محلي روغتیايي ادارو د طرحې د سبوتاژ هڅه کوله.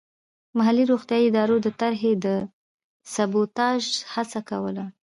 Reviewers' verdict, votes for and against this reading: accepted, 2, 0